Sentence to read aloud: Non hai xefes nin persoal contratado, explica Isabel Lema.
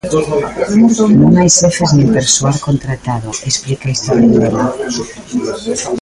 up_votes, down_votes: 0, 2